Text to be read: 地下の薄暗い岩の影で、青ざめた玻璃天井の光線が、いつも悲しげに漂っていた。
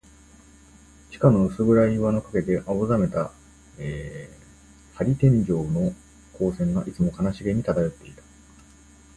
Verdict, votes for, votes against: accepted, 2, 0